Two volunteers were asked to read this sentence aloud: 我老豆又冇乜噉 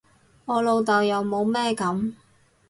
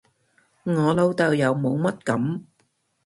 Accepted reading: second